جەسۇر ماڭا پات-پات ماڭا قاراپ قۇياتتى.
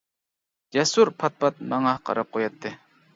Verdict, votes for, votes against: rejected, 0, 2